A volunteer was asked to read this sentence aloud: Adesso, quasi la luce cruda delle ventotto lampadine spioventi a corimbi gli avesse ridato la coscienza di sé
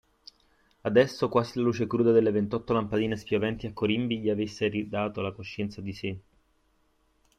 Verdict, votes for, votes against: rejected, 1, 2